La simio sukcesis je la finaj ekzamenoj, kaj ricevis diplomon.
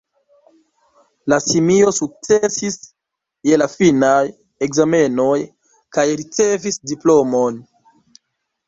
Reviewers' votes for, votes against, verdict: 2, 1, accepted